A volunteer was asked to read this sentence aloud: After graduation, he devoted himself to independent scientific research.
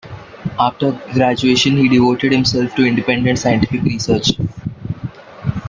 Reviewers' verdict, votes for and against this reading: accepted, 2, 0